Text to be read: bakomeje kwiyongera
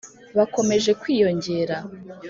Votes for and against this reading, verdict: 2, 0, accepted